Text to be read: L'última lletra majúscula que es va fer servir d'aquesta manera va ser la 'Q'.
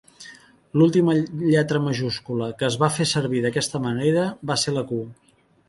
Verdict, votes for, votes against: rejected, 1, 3